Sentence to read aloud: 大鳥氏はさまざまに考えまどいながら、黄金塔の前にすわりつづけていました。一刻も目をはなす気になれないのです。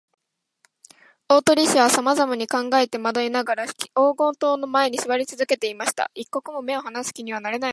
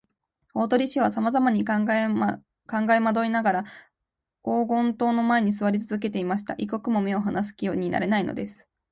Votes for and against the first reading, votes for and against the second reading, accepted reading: 2, 0, 0, 2, first